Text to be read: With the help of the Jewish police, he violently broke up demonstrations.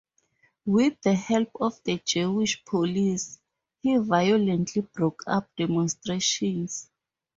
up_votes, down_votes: 4, 0